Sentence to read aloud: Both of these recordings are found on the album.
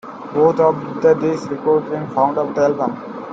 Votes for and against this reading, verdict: 0, 2, rejected